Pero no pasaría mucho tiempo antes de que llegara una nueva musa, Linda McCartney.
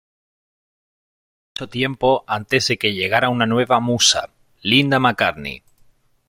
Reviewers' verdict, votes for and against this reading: rejected, 1, 3